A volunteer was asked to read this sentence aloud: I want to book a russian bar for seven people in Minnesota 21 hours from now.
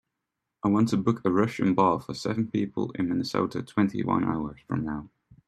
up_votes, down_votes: 0, 2